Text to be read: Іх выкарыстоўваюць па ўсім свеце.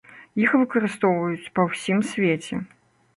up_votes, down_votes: 2, 0